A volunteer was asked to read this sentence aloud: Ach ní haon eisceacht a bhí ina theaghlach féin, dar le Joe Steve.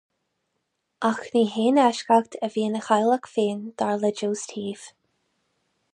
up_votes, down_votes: 2, 2